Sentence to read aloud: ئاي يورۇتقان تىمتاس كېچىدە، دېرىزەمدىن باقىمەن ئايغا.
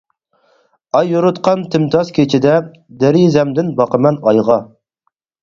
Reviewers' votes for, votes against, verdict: 4, 0, accepted